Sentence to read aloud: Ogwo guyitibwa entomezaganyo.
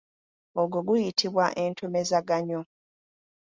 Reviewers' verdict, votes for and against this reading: accepted, 2, 0